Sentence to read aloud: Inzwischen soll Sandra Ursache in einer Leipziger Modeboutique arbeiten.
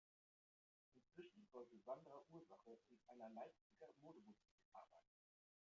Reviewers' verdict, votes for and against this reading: rejected, 0, 2